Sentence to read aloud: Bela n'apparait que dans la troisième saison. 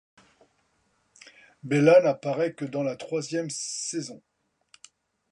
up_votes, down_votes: 2, 0